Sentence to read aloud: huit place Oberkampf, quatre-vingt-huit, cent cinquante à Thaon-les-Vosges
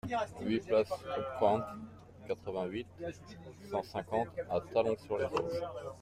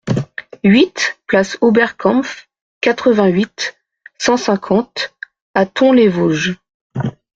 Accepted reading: second